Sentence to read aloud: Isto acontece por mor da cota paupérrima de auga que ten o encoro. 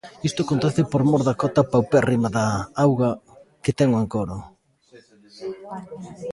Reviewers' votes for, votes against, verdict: 2, 1, accepted